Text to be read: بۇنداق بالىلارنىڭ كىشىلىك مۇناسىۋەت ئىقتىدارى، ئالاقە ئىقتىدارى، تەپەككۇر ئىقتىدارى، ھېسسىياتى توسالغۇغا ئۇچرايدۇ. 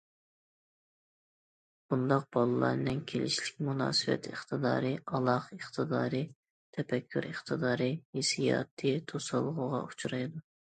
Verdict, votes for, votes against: rejected, 0, 2